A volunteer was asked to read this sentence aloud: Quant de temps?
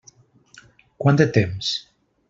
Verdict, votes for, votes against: accepted, 3, 0